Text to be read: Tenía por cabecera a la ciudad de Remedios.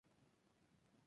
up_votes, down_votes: 2, 0